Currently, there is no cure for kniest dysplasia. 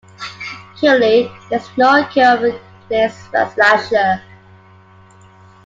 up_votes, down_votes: 0, 2